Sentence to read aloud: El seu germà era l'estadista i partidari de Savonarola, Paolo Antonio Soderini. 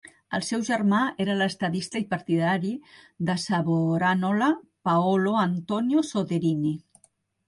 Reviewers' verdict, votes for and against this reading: rejected, 1, 2